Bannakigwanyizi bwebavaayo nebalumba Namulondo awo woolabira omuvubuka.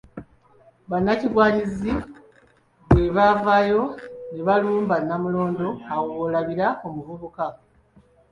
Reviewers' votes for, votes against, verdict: 0, 2, rejected